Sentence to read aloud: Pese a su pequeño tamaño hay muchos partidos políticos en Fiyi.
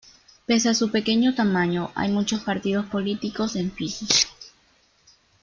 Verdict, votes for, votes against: accepted, 2, 0